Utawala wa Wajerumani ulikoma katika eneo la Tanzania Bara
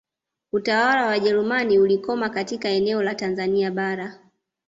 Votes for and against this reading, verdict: 2, 0, accepted